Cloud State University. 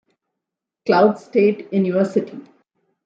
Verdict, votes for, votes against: accepted, 2, 0